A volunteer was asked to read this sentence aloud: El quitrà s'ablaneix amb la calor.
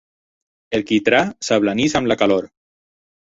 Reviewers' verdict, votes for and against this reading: rejected, 2, 4